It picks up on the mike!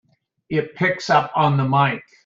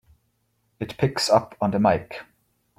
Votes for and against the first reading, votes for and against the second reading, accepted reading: 2, 0, 1, 2, first